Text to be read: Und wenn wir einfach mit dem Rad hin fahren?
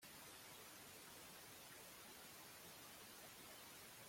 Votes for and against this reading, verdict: 0, 2, rejected